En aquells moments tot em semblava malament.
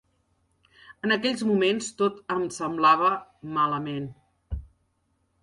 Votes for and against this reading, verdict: 3, 0, accepted